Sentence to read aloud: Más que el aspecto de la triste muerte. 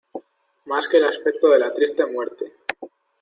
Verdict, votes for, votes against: accepted, 2, 0